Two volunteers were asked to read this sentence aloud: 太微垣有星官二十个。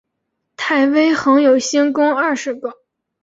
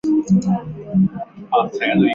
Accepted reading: first